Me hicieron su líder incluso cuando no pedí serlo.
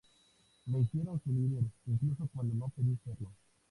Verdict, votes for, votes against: accepted, 2, 0